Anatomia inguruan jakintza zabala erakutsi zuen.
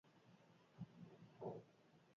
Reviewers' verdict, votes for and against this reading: rejected, 0, 4